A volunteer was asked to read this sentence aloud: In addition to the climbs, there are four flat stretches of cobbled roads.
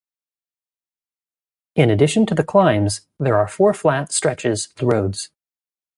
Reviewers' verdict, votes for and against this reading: rejected, 0, 2